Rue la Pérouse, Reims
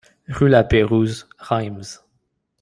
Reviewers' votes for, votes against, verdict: 2, 0, accepted